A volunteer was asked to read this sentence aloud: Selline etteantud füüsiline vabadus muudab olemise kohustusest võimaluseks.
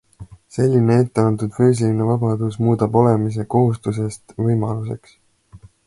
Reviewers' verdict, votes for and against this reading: accepted, 2, 0